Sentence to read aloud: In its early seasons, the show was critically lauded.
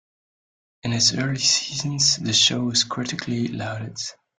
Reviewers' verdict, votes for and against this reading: accepted, 2, 0